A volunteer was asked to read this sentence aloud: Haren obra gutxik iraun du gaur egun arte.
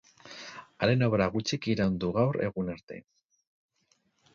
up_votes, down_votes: 2, 2